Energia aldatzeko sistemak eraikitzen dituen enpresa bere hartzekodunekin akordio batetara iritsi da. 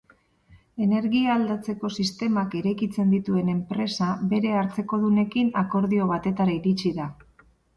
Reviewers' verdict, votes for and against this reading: accepted, 6, 0